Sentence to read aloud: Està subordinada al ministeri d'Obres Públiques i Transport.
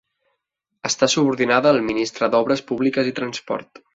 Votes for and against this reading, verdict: 0, 2, rejected